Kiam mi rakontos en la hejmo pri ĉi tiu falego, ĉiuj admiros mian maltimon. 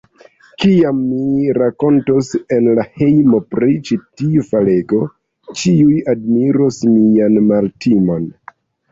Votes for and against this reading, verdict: 2, 0, accepted